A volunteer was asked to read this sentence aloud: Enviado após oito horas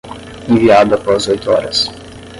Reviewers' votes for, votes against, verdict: 5, 10, rejected